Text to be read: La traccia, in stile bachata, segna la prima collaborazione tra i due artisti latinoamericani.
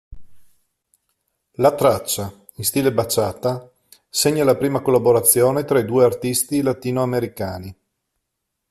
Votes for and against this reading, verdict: 2, 0, accepted